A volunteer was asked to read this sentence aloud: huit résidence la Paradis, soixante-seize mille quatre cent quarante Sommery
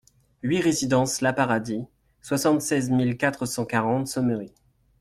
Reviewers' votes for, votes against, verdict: 2, 0, accepted